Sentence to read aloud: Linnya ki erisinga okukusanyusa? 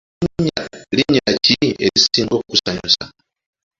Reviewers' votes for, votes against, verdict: 2, 1, accepted